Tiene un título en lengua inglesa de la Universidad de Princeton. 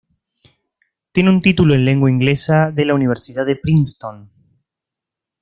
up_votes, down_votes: 2, 0